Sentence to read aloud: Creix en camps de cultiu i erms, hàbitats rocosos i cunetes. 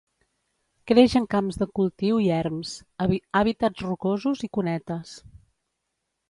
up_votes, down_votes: 1, 2